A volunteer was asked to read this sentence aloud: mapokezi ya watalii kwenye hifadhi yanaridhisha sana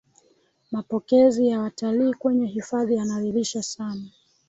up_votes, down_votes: 3, 1